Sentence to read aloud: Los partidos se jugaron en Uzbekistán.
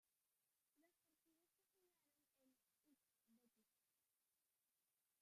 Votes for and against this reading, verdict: 0, 2, rejected